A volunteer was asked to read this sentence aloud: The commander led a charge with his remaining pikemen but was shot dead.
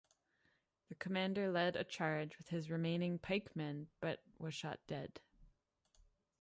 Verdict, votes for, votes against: accepted, 2, 0